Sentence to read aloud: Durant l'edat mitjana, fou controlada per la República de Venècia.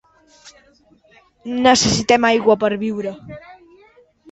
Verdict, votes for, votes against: rejected, 1, 2